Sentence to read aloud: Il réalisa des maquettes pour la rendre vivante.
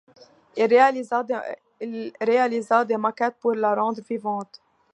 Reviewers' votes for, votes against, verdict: 1, 2, rejected